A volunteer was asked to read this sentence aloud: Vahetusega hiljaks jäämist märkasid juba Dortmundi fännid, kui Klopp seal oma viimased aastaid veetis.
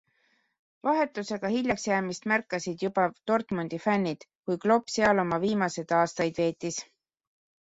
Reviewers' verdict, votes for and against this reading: accepted, 2, 0